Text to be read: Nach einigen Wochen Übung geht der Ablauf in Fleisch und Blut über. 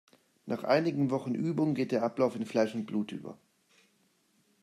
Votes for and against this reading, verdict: 2, 0, accepted